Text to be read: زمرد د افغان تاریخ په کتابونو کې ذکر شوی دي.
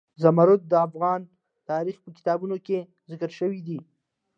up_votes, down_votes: 2, 0